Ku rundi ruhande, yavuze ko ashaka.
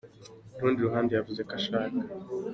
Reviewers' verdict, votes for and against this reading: accepted, 2, 0